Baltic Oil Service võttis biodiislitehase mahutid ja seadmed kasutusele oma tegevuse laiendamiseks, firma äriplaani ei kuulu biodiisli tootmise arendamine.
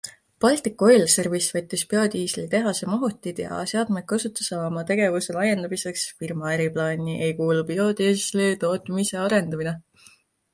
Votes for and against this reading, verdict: 2, 0, accepted